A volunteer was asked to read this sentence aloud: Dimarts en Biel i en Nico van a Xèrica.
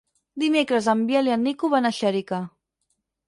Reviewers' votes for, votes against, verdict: 4, 6, rejected